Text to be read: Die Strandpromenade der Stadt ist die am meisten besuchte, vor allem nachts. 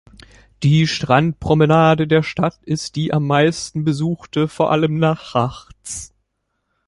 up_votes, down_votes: 0, 2